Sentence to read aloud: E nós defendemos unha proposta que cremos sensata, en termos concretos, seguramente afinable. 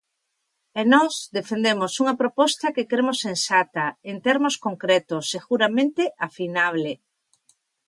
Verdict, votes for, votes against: accepted, 2, 1